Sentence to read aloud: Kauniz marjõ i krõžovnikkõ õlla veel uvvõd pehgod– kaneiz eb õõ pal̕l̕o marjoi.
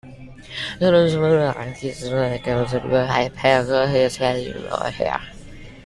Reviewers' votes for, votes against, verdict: 0, 2, rejected